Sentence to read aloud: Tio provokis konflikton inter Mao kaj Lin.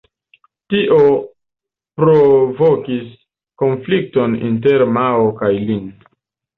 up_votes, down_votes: 0, 2